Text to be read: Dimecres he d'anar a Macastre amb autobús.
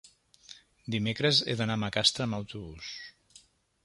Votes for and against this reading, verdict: 2, 0, accepted